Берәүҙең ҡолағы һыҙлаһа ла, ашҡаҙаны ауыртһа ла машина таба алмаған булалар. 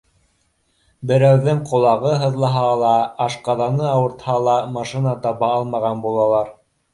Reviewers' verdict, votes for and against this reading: accepted, 2, 0